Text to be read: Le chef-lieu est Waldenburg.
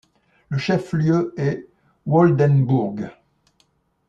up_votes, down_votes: 2, 0